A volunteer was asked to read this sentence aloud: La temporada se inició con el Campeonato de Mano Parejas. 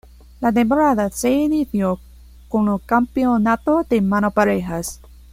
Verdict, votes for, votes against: accepted, 2, 0